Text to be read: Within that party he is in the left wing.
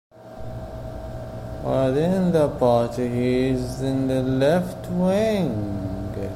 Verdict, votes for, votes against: rejected, 1, 2